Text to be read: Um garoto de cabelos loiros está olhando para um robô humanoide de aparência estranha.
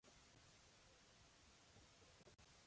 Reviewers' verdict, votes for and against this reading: rejected, 0, 2